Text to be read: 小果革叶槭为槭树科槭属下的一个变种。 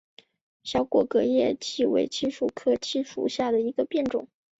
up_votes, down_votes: 4, 1